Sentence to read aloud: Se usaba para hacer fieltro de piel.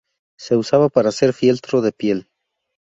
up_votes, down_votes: 2, 0